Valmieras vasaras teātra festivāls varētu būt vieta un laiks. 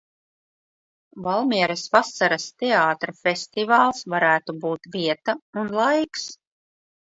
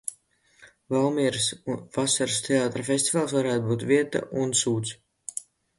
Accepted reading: first